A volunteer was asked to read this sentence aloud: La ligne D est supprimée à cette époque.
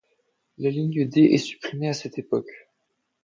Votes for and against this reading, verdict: 2, 0, accepted